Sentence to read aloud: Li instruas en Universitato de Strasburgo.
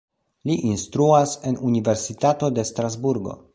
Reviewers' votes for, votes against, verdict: 2, 0, accepted